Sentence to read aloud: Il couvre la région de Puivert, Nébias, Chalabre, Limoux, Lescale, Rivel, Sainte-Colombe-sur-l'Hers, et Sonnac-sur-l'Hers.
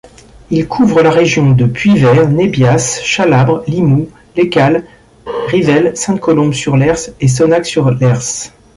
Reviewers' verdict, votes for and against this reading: rejected, 0, 2